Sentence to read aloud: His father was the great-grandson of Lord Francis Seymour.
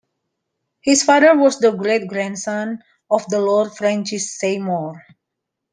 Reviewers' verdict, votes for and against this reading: rejected, 1, 2